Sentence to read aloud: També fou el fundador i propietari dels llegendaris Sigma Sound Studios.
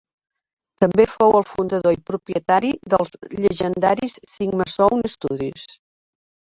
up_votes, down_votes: 1, 2